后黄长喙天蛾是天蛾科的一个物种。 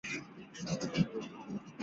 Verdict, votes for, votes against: rejected, 0, 2